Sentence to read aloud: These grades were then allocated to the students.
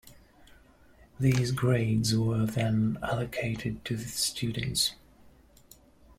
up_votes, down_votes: 2, 0